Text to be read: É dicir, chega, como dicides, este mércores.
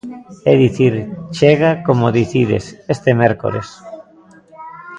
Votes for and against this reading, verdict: 0, 2, rejected